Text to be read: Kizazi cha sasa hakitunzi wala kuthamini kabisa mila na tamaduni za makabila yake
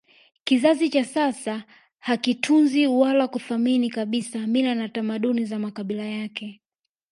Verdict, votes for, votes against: accepted, 3, 0